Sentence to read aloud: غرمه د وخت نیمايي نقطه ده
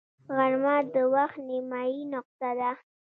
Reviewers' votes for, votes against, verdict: 2, 0, accepted